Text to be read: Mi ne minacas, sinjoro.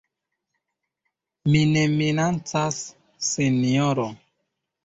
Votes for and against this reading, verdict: 1, 2, rejected